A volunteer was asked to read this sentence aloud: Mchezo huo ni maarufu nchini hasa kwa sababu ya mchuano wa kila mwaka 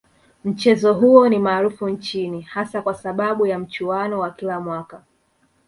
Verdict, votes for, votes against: accepted, 2, 0